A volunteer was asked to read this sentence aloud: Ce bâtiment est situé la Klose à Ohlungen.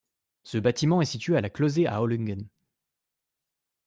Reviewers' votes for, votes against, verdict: 1, 2, rejected